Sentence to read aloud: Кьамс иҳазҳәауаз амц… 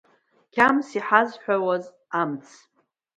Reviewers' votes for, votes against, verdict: 2, 0, accepted